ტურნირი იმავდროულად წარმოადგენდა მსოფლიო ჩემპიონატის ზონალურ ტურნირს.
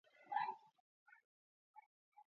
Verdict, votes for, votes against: rejected, 0, 2